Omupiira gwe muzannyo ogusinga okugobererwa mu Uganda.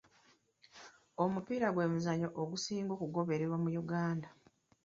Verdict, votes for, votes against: accepted, 2, 0